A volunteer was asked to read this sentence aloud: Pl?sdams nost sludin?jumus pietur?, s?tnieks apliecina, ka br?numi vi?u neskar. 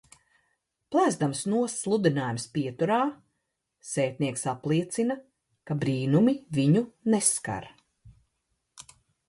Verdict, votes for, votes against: accepted, 2, 0